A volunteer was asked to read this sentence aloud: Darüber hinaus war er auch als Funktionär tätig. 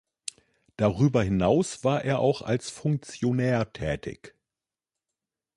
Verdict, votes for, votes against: accepted, 2, 0